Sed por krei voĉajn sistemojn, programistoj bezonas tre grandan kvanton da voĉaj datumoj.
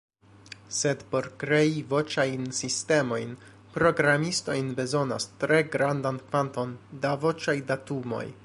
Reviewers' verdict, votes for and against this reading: accepted, 2, 0